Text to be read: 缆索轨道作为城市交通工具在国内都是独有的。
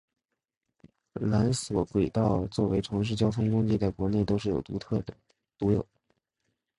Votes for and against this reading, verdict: 3, 6, rejected